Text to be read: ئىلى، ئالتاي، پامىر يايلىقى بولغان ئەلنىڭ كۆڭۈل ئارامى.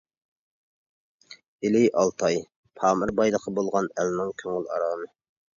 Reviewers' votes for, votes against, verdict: 0, 2, rejected